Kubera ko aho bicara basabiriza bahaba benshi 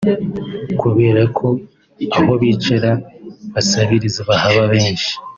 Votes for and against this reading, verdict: 2, 0, accepted